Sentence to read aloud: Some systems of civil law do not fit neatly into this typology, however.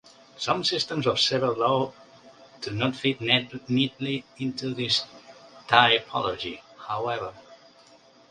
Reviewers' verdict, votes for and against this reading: rejected, 0, 2